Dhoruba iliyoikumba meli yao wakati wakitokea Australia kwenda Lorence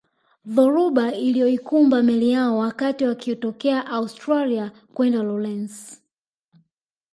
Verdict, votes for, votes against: rejected, 1, 2